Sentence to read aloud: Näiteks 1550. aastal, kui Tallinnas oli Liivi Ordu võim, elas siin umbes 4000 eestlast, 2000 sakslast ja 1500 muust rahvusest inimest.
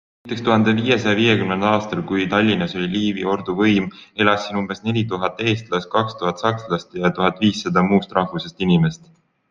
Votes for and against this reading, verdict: 0, 2, rejected